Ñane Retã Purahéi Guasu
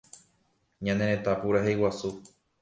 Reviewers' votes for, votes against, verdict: 2, 0, accepted